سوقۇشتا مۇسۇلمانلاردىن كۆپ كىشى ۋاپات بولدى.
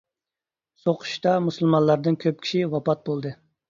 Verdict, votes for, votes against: accepted, 2, 0